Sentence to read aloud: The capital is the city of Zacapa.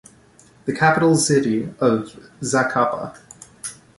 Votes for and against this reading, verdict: 1, 2, rejected